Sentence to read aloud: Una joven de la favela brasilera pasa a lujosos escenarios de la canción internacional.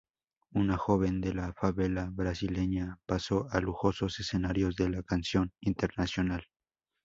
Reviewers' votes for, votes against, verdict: 2, 2, rejected